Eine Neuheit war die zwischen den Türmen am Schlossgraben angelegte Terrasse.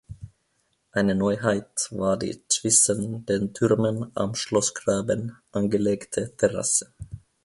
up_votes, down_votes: 0, 2